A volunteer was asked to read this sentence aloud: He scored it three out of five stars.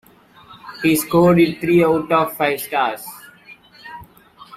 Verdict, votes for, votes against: accepted, 2, 0